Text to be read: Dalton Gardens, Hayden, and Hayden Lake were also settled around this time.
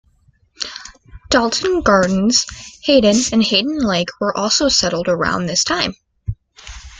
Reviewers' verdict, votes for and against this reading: accepted, 2, 0